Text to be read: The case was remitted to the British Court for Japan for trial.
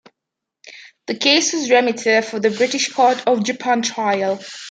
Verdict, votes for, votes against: rejected, 0, 2